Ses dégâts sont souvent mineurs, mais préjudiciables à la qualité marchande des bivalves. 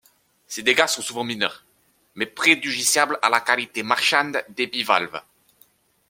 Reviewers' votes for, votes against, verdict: 1, 2, rejected